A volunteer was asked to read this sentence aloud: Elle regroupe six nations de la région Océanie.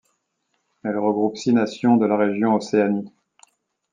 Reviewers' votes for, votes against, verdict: 2, 0, accepted